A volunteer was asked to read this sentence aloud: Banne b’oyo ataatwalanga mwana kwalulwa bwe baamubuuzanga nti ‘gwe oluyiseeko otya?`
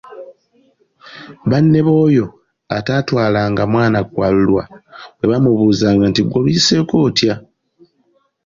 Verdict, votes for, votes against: accepted, 2, 0